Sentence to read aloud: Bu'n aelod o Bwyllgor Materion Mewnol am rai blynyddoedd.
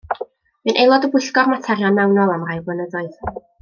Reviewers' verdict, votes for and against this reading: rejected, 1, 2